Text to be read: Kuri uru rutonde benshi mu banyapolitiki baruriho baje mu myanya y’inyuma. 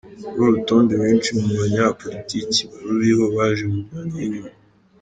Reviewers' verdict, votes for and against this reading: accepted, 3, 1